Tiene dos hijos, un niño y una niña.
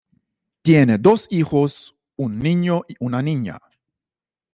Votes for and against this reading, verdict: 2, 0, accepted